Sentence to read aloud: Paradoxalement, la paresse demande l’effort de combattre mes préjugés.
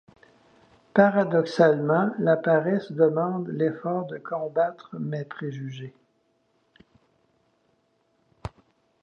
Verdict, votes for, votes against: accepted, 2, 0